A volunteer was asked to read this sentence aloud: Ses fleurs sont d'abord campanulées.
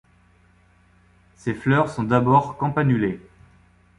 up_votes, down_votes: 2, 0